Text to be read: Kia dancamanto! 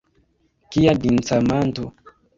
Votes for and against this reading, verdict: 0, 2, rejected